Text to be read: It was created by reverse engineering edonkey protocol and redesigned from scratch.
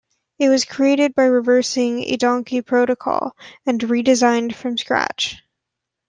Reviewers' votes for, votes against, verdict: 1, 2, rejected